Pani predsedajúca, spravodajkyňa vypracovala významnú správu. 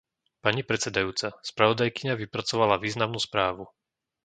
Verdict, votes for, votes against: accepted, 2, 0